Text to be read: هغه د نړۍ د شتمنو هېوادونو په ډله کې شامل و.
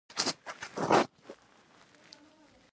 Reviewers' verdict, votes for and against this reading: rejected, 0, 2